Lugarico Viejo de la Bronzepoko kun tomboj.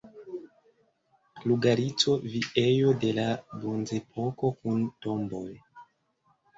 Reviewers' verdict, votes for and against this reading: accepted, 2, 1